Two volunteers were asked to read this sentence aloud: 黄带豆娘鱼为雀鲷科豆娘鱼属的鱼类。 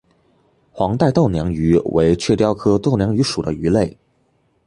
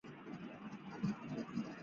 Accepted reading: first